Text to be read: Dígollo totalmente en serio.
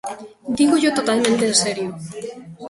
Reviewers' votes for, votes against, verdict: 0, 2, rejected